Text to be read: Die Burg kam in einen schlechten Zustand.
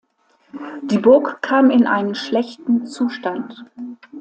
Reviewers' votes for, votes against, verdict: 2, 0, accepted